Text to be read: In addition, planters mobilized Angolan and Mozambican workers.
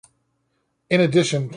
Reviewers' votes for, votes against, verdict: 0, 2, rejected